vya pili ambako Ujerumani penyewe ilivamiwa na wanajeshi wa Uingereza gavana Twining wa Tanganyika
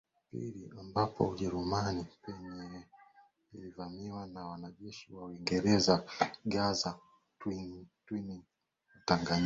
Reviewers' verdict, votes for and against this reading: rejected, 1, 2